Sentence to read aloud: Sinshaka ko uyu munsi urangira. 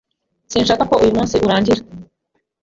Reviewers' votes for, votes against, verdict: 2, 1, accepted